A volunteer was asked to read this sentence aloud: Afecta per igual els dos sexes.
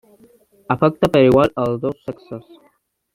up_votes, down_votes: 1, 2